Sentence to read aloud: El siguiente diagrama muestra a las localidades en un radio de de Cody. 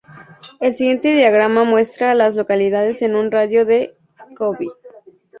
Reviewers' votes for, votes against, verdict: 0, 2, rejected